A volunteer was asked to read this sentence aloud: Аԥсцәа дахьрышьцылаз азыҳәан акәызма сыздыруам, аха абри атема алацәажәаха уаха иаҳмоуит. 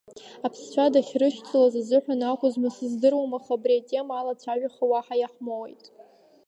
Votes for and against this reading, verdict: 0, 2, rejected